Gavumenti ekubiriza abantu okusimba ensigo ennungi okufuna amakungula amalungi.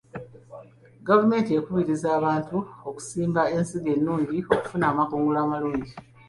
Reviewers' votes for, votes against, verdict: 2, 0, accepted